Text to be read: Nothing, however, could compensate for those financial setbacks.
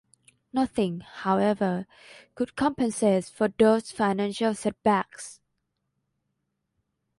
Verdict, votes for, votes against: rejected, 1, 2